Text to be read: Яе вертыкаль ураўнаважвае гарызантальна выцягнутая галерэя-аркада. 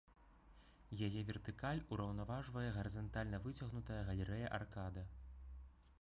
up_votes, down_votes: 3, 0